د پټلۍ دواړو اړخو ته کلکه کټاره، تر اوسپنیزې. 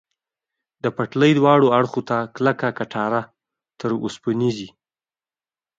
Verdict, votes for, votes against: accepted, 2, 0